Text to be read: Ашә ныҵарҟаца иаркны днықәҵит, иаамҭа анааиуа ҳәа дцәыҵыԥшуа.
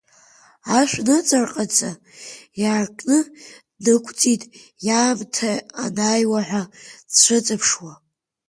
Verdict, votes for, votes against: accepted, 2, 1